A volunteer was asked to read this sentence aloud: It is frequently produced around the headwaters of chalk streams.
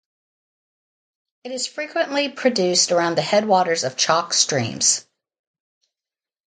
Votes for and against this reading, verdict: 2, 0, accepted